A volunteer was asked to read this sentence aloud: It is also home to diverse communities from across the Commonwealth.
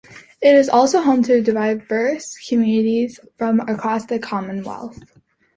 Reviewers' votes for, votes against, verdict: 1, 2, rejected